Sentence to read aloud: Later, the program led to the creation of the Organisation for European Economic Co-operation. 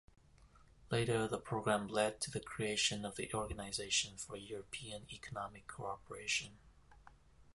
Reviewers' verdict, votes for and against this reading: rejected, 1, 2